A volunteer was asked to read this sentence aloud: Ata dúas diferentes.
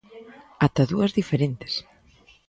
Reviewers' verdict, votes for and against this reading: accepted, 2, 0